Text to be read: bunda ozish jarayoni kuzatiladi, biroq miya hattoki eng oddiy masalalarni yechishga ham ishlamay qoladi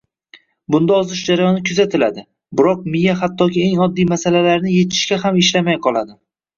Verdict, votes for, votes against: rejected, 0, 2